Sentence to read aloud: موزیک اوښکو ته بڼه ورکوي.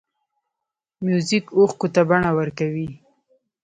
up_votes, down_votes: 1, 2